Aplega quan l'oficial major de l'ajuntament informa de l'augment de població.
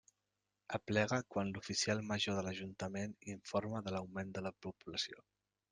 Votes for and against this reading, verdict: 2, 0, accepted